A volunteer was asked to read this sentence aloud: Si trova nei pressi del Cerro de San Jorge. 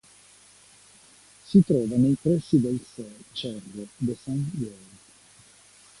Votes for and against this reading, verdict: 1, 2, rejected